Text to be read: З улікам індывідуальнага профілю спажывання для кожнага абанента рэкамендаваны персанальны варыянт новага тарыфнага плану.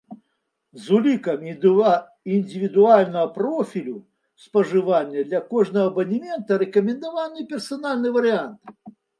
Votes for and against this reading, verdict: 0, 2, rejected